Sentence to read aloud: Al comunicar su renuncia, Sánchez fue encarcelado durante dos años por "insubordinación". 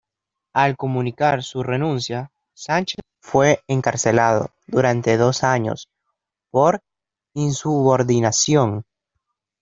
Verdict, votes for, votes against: accepted, 2, 0